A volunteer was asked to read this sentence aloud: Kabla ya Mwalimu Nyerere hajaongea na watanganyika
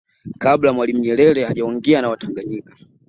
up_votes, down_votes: 2, 0